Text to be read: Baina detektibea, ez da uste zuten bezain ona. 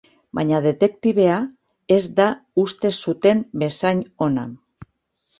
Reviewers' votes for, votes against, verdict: 3, 0, accepted